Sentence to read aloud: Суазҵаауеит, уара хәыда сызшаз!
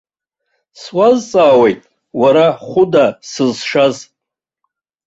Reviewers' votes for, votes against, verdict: 2, 0, accepted